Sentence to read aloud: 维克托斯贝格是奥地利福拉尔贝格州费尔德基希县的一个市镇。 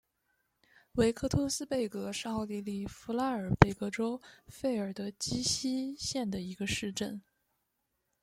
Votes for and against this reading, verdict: 2, 0, accepted